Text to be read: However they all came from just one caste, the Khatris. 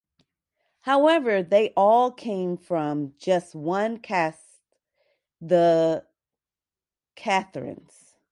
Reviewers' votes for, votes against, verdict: 0, 2, rejected